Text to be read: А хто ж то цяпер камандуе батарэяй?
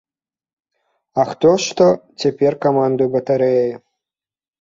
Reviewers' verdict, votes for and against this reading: accepted, 2, 0